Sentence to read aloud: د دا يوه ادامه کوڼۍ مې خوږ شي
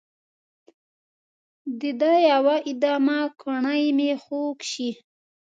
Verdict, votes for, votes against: rejected, 0, 2